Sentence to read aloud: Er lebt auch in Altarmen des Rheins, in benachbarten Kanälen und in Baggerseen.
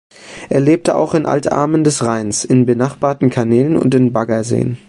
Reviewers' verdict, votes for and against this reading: rejected, 1, 2